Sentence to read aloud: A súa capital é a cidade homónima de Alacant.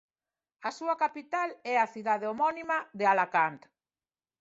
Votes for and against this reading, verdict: 2, 0, accepted